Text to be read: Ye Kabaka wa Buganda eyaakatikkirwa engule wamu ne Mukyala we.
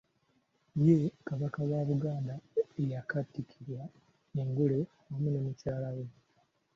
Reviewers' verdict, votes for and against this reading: accepted, 2, 1